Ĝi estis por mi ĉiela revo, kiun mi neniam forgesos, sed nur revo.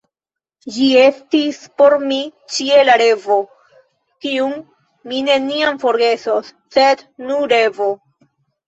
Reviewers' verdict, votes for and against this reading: accepted, 2, 1